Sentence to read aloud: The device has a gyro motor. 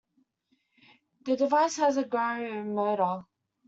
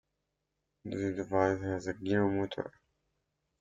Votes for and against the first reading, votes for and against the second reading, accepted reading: 2, 1, 0, 2, first